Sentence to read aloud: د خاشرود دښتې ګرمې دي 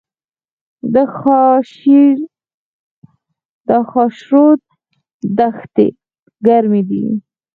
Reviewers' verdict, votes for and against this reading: rejected, 0, 4